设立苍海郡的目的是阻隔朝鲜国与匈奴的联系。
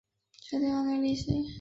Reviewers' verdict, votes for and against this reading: rejected, 0, 2